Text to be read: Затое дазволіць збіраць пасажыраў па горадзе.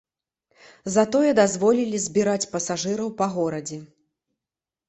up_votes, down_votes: 0, 2